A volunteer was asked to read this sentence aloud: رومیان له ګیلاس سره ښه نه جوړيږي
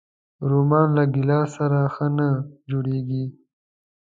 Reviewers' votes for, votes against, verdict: 2, 0, accepted